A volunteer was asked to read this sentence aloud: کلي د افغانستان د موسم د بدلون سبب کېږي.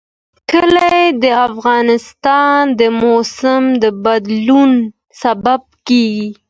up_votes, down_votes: 2, 0